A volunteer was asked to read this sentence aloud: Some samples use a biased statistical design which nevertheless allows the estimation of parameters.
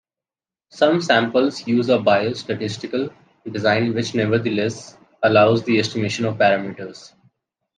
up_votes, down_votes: 2, 0